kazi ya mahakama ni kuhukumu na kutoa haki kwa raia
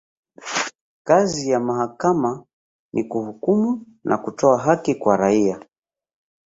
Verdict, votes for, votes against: rejected, 1, 2